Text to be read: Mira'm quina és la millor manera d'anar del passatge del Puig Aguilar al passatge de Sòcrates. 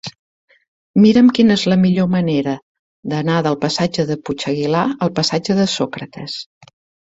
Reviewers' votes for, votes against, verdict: 1, 2, rejected